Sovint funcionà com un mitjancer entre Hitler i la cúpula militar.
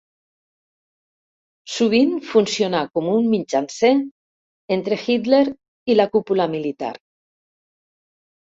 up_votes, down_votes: 1, 2